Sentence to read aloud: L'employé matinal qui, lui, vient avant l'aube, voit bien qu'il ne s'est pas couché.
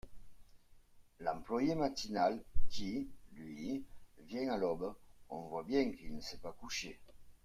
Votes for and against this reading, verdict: 0, 2, rejected